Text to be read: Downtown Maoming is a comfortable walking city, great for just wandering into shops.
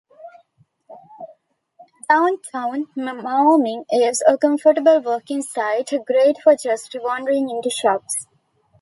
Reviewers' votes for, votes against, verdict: 0, 3, rejected